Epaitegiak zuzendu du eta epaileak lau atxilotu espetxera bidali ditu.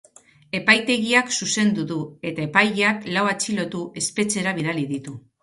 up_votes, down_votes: 2, 0